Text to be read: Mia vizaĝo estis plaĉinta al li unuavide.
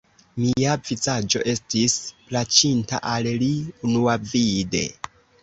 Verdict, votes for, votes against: accepted, 2, 0